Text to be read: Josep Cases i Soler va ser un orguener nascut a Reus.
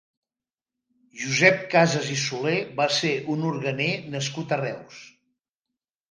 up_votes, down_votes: 2, 0